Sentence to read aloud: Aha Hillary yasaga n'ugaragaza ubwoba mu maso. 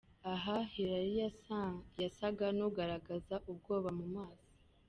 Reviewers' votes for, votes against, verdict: 1, 2, rejected